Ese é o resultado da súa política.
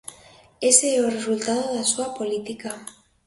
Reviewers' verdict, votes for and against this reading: accepted, 2, 1